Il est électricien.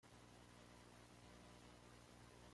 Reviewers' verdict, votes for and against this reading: rejected, 0, 2